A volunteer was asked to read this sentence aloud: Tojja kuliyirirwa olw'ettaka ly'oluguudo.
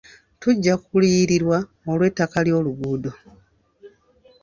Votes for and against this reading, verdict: 1, 2, rejected